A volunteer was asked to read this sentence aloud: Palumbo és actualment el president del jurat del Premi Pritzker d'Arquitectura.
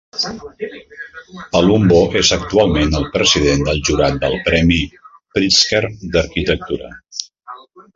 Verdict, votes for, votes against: accepted, 2, 0